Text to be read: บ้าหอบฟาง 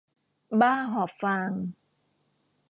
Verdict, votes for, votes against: accepted, 2, 0